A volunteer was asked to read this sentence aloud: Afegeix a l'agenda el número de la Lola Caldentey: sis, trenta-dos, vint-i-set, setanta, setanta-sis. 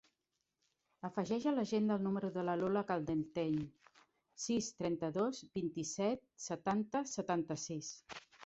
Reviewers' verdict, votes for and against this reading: accepted, 2, 0